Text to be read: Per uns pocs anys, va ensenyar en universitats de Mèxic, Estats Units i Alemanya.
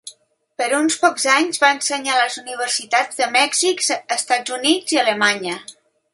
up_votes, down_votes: 0, 3